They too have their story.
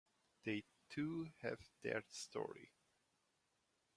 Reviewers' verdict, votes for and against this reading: accepted, 2, 1